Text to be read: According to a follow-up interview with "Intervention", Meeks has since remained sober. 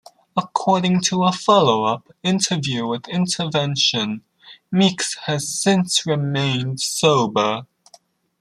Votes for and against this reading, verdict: 2, 0, accepted